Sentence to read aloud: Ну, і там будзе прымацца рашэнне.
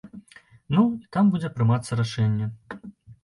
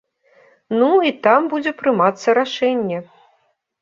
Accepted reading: second